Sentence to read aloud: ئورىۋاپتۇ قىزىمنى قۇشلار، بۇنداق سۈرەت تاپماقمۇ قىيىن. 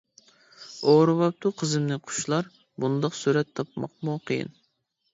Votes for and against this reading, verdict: 2, 0, accepted